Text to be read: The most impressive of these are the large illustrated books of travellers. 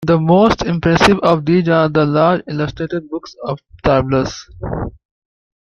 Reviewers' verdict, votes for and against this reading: accepted, 2, 1